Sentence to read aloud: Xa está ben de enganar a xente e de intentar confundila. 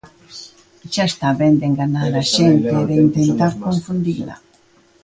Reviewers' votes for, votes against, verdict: 2, 0, accepted